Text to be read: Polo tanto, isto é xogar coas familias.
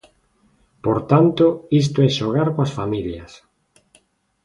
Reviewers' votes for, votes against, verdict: 0, 2, rejected